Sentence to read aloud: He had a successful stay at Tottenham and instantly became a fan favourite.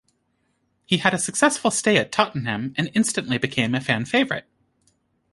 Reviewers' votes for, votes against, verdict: 2, 1, accepted